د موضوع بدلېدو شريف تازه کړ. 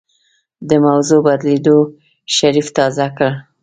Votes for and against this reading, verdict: 2, 0, accepted